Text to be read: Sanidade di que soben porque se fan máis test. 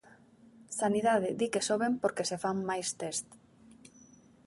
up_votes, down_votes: 2, 0